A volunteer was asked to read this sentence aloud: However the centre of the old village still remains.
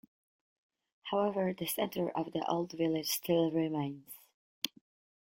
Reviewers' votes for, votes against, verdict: 2, 0, accepted